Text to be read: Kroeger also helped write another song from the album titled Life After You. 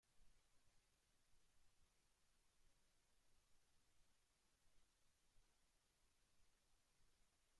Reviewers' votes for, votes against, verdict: 0, 2, rejected